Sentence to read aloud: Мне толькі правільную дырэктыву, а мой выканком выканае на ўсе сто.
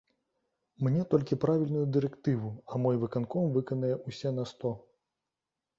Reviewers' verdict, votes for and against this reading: rejected, 0, 2